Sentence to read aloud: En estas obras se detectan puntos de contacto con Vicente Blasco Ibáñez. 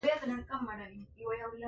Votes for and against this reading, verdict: 0, 3, rejected